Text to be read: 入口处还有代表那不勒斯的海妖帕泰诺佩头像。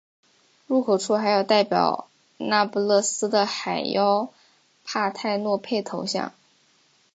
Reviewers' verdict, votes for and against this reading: accepted, 2, 0